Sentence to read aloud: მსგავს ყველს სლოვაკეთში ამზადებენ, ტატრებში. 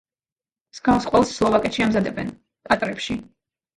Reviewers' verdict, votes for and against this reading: accepted, 2, 0